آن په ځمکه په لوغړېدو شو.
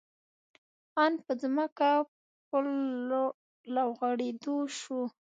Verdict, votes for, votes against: rejected, 1, 2